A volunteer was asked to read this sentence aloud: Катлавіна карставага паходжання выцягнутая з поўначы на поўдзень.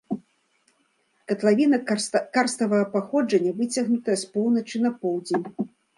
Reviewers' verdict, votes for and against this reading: rejected, 1, 2